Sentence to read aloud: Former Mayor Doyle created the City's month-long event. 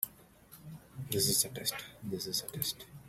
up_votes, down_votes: 0, 2